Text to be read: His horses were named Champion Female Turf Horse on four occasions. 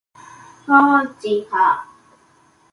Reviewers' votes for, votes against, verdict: 0, 2, rejected